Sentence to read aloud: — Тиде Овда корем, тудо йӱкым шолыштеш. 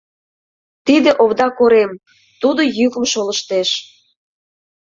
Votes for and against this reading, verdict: 2, 0, accepted